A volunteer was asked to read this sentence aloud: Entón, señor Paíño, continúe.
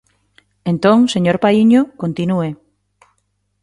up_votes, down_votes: 2, 0